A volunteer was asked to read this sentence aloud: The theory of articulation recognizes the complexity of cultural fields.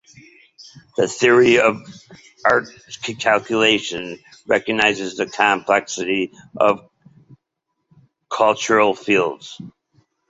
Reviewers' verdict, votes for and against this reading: rejected, 0, 2